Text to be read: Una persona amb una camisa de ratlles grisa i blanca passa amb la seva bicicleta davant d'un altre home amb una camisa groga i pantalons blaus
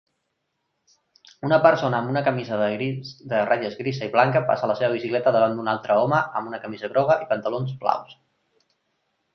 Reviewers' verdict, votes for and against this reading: rejected, 0, 2